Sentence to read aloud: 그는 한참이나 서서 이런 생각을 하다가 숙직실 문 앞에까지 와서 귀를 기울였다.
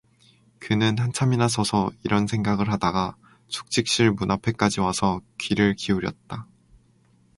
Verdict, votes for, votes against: accepted, 4, 0